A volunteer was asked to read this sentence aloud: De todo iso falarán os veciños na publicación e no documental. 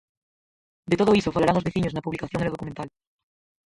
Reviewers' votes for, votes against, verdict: 0, 4, rejected